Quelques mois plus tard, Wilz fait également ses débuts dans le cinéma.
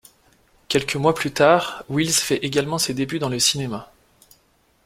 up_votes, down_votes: 2, 0